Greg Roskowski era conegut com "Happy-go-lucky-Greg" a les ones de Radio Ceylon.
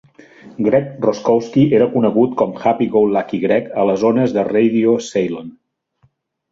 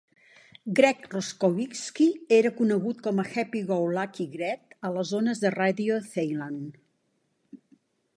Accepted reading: first